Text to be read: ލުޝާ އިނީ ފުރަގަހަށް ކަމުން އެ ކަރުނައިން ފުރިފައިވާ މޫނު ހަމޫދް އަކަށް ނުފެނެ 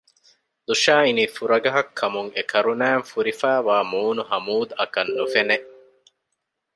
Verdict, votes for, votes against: accepted, 2, 0